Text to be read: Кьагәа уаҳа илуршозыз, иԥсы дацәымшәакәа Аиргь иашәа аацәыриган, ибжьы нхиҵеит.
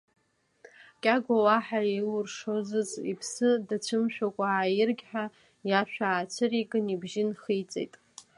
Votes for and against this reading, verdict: 0, 2, rejected